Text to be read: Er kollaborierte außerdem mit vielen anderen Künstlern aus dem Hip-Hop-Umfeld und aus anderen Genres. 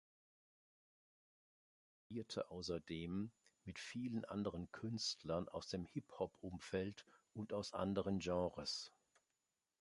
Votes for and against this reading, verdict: 1, 2, rejected